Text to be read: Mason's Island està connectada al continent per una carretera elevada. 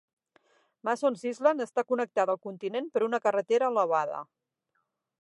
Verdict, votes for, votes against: rejected, 3, 6